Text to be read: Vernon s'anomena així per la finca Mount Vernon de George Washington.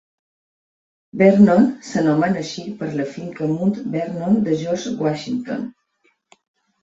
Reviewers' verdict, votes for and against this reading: rejected, 0, 2